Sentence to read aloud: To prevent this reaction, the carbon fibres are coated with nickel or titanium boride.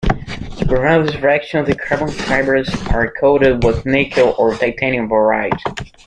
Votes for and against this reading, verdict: 0, 2, rejected